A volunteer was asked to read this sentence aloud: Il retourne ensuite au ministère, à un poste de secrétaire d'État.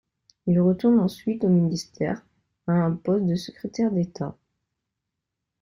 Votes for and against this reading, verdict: 2, 1, accepted